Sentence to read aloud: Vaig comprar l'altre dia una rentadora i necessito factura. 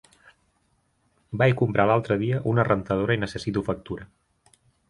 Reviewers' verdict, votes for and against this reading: rejected, 2, 4